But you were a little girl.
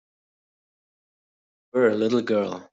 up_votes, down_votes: 1, 2